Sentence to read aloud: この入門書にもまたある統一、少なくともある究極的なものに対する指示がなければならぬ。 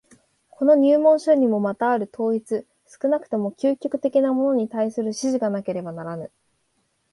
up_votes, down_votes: 2, 0